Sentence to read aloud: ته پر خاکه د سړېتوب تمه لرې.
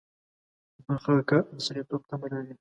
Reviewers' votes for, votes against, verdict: 2, 3, rejected